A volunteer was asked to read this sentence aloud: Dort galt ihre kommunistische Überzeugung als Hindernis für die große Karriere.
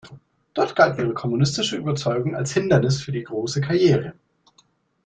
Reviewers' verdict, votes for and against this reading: accepted, 2, 0